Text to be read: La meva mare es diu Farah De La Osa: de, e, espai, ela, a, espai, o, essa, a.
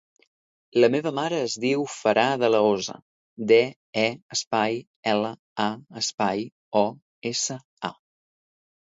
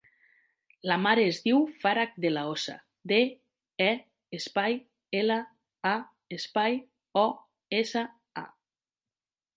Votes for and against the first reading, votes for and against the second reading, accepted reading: 2, 1, 0, 3, first